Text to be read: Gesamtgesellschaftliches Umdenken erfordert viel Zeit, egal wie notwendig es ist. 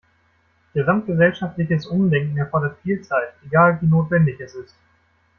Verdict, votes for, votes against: rejected, 1, 2